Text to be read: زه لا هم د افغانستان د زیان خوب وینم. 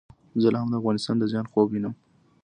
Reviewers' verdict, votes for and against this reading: accepted, 2, 0